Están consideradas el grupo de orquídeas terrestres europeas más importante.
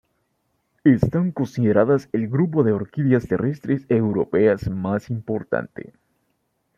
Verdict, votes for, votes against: rejected, 1, 2